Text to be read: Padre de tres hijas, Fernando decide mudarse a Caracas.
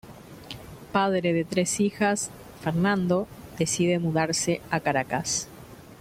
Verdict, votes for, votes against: accepted, 2, 0